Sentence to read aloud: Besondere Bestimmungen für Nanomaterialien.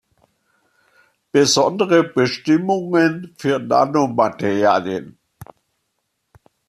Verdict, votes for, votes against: accepted, 2, 1